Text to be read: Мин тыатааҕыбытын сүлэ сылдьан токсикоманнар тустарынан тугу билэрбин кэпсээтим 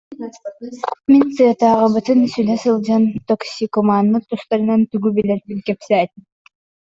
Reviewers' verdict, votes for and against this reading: rejected, 0, 2